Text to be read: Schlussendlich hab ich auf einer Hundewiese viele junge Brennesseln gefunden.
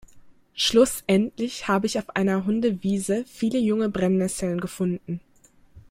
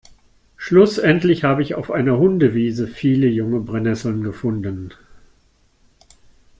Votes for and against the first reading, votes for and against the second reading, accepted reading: 2, 0, 0, 2, first